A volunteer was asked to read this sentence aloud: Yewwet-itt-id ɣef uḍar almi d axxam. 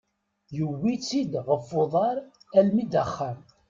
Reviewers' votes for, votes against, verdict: 2, 0, accepted